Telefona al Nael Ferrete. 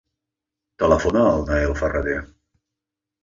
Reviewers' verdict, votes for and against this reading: rejected, 1, 2